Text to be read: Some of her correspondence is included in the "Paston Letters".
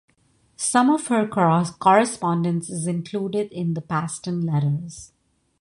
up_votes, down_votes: 1, 2